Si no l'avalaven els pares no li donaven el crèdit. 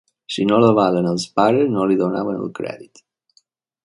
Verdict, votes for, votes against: rejected, 2, 3